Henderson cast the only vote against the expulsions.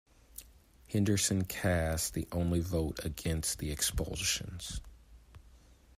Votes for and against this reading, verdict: 2, 0, accepted